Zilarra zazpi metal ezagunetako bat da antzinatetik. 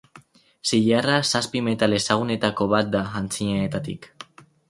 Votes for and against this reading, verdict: 0, 6, rejected